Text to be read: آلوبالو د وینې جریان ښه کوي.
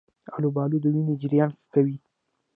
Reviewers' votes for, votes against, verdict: 0, 2, rejected